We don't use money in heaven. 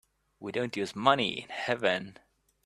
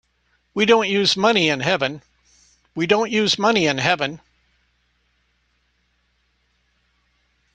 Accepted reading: first